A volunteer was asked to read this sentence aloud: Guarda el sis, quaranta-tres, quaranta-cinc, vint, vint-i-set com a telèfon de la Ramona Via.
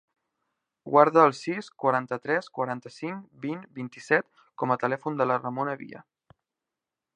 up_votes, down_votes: 3, 0